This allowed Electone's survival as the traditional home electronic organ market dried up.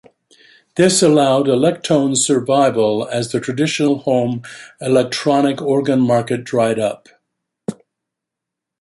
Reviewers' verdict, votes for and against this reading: accepted, 2, 0